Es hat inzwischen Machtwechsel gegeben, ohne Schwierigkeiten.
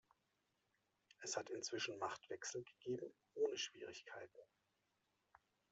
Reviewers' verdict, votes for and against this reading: rejected, 0, 2